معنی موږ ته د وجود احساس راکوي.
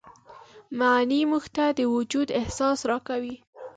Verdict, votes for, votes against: rejected, 0, 2